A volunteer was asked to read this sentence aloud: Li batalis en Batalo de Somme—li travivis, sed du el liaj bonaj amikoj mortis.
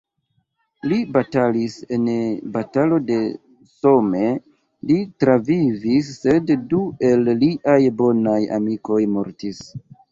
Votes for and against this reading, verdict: 1, 2, rejected